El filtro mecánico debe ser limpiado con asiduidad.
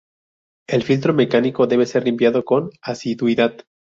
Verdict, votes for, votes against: rejected, 2, 2